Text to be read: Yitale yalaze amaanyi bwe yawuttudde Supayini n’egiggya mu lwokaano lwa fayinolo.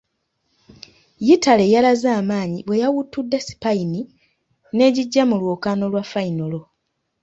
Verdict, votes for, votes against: rejected, 1, 2